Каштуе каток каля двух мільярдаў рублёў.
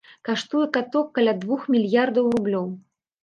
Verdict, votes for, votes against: accepted, 3, 0